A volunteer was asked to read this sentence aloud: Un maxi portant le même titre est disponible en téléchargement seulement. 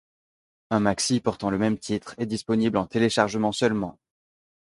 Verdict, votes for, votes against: accepted, 2, 0